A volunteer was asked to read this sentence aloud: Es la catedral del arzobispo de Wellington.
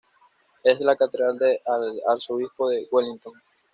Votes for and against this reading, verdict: 2, 0, accepted